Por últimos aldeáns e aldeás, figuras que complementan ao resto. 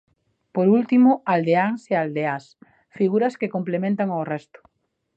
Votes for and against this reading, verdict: 1, 2, rejected